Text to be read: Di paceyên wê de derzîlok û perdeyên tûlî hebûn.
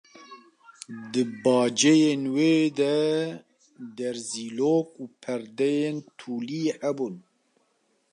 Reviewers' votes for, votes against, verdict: 1, 2, rejected